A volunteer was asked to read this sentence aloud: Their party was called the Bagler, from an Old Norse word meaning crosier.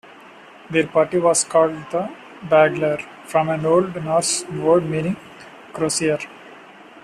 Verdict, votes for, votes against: rejected, 0, 2